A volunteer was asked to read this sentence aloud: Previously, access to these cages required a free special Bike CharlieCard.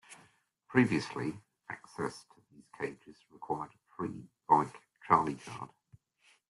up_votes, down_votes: 0, 2